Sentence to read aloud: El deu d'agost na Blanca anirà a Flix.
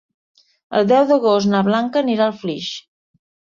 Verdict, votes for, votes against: accepted, 2, 0